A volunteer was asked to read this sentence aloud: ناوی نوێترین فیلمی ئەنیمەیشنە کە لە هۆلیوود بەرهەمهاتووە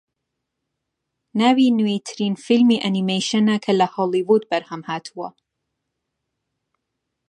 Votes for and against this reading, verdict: 3, 0, accepted